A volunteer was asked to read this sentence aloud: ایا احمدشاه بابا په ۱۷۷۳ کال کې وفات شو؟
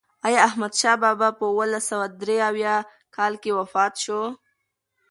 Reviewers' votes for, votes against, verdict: 0, 2, rejected